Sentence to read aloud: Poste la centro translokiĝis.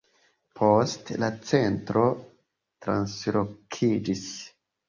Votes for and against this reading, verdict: 2, 0, accepted